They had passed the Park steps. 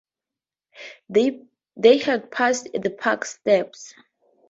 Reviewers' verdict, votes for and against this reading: accepted, 2, 0